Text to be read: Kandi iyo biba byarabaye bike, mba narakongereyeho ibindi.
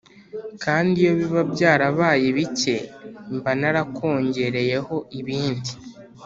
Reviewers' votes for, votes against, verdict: 3, 0, accepted